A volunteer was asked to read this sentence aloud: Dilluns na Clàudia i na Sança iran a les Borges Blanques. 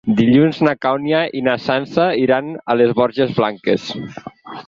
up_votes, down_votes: 0, 6